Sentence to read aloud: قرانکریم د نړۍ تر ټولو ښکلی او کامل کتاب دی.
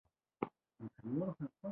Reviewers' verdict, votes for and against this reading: rejected, 1, 2